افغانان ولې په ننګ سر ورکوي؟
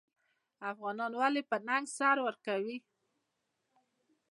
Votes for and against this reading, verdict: 2, 0, accepted